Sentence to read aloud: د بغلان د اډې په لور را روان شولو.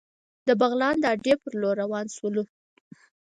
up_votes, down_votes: 4, 0